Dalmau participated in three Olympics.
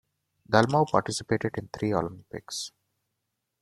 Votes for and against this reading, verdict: 2, 1, accepted